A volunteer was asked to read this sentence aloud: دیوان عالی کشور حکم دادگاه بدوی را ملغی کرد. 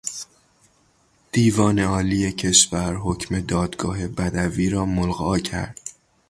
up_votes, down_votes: 3, 3